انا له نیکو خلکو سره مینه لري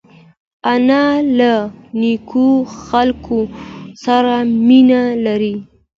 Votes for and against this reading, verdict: 2, 0, accepted